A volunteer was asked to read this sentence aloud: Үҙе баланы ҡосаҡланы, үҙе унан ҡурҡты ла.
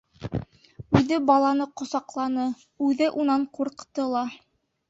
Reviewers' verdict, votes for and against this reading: accepted, 3, 1